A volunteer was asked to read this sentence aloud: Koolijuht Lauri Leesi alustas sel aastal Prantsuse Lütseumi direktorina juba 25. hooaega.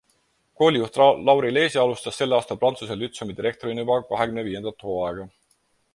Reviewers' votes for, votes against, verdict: 0, 2, rejected